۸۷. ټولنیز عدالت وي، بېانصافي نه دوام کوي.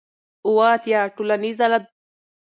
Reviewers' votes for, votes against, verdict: 0, 2, rejected